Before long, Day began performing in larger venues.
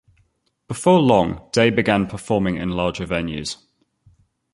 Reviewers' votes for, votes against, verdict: 2, 0, accepted